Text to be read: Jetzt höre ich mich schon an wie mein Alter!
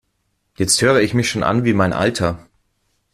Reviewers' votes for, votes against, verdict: 2, 0, accepted